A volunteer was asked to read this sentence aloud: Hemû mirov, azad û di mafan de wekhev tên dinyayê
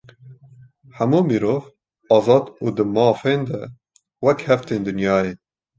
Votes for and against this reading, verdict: 2, 0, accepted